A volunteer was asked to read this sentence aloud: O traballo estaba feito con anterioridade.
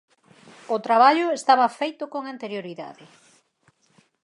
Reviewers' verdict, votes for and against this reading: accepted, 22, 2